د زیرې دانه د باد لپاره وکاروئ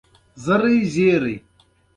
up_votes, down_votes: 1, 2